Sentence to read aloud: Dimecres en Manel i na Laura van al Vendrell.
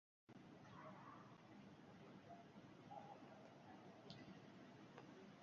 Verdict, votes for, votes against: rejected, 1, 2